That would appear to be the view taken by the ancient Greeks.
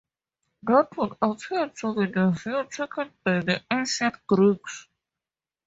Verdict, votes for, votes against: rejected, 2, 2